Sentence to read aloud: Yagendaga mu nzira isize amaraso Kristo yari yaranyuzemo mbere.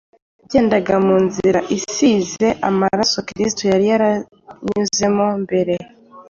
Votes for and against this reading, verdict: 2, 0, accepted